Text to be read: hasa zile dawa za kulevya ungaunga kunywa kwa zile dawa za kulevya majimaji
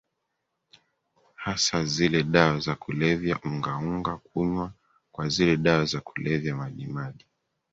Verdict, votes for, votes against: accepted, 2, 1